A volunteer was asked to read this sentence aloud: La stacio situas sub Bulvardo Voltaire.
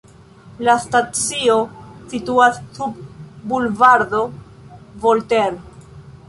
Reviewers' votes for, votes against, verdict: 2, 0, accepted